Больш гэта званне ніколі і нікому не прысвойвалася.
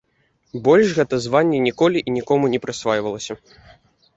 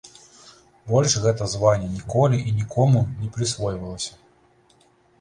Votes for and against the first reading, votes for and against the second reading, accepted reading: 0, 2, 2, 0, second